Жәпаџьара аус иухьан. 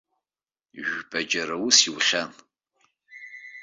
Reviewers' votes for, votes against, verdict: 2, 1, accepted